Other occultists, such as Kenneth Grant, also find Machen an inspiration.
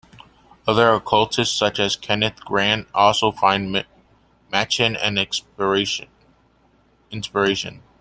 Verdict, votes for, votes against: rejected, 0, 2